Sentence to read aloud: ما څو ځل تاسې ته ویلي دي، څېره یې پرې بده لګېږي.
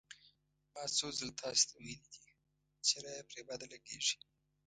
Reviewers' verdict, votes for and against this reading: rejected, 1, 2